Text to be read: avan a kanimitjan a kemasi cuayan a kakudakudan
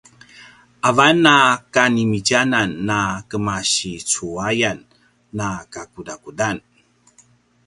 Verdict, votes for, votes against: rejected, 1, 2